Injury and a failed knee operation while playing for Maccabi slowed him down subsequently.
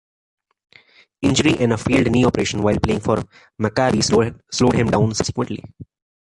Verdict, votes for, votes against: accepted, 3, 1